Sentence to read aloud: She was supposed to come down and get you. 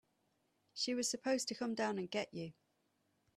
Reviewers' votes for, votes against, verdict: 2, 0, accepted